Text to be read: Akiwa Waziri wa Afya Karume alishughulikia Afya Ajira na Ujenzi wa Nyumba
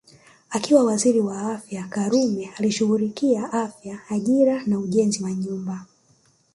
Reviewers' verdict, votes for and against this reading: rejected, 1, 2